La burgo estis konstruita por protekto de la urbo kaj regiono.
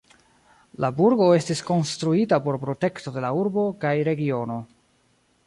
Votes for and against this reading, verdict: 1, 2, rejected